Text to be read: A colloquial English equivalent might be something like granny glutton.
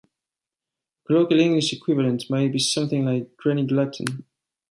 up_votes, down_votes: 1, 2